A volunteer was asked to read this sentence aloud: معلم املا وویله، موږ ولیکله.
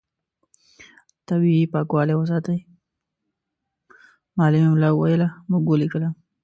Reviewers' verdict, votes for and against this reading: rejected, 0, 2